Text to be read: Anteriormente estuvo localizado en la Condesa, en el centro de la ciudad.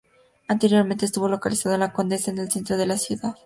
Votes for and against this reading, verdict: 2, 0, accepted